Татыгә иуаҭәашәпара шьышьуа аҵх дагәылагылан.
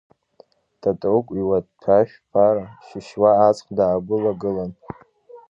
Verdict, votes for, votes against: rejected, 1, 2